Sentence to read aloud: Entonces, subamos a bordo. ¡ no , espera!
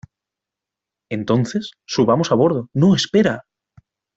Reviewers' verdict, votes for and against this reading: accepted, 2, 0